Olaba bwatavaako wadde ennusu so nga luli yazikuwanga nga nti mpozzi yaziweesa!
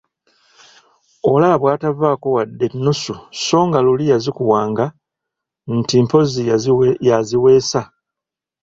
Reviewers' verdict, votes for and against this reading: rejected, 0, 2